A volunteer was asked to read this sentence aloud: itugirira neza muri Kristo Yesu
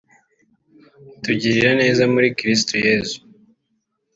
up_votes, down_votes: 1, 2